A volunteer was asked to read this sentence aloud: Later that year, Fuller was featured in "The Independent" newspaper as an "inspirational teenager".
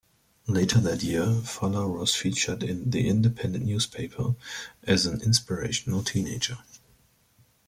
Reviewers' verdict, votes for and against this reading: accepted, 2, 0